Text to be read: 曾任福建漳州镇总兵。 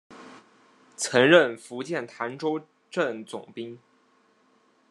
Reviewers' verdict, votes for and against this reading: rejected, 1, 2